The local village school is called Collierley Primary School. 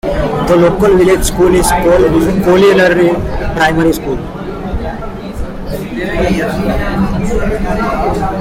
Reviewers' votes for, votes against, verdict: 1, 2, rejected